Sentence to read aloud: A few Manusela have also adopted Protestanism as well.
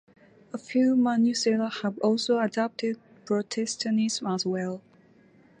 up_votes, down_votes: 2, 0